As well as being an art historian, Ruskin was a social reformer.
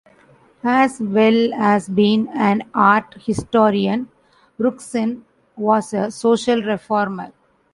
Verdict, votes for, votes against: rejected, 1, 2